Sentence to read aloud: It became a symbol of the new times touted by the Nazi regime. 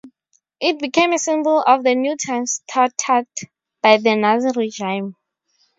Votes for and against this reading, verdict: 4, 0, accepted